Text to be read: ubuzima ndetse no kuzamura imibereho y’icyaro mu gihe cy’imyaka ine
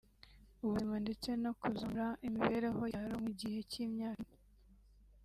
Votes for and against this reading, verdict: 0, 2, rejected